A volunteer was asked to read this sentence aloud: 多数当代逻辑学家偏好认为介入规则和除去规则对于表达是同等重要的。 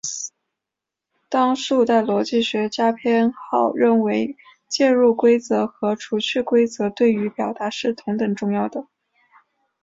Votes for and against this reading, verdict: 2, 0, accepted